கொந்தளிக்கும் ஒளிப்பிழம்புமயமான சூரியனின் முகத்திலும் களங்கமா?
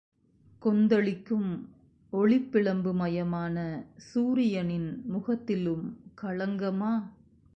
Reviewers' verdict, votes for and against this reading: accepted, 2, 0